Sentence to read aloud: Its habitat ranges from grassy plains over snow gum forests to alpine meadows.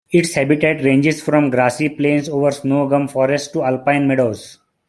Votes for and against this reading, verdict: 2, 1, accepted